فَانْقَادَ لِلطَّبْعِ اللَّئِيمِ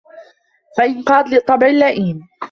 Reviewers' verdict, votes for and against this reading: rejected, 1, 2